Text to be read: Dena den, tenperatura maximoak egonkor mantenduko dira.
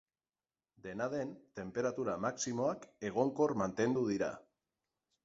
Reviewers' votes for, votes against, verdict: 0, 6, rejected